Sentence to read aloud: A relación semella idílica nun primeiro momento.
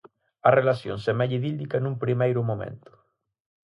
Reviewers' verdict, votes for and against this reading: accepted, 6, 0